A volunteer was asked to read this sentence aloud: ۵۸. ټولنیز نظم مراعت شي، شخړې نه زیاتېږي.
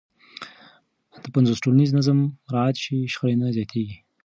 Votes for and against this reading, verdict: 0, 2, rejected